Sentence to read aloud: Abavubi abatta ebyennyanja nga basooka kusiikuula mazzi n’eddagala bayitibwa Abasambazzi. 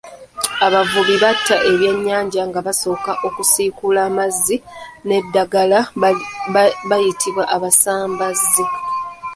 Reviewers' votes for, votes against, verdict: 1, 2, rejected